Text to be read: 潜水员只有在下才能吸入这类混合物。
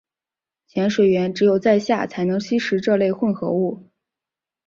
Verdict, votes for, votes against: accepted, 3, 2